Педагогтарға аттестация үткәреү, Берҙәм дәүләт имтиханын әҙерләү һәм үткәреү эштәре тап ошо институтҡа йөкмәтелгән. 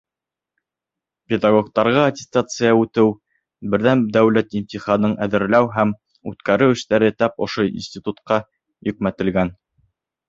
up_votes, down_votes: 1, 2